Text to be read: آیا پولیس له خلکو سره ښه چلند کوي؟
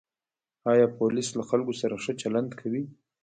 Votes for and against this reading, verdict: 0, 2, rejected